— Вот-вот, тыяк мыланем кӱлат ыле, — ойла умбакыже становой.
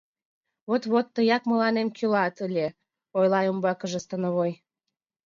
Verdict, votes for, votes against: accepted, 2, 1